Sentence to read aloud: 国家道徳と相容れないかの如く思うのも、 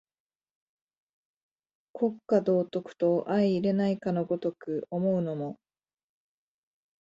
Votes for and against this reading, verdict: 2, 0, accepted